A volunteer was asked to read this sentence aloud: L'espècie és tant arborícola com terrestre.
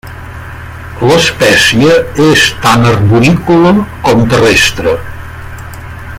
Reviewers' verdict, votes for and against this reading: accepted, 2, 0